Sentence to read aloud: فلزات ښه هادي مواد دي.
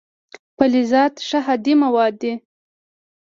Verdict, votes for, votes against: accepted, 2, 0